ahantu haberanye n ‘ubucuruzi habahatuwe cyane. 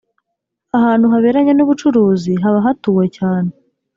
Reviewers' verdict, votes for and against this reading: accepted, 3, 0